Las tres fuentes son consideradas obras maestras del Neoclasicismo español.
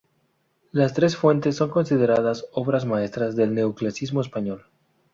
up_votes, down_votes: 0, 2